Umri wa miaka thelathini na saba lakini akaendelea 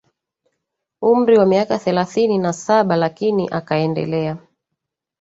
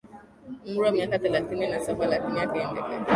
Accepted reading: first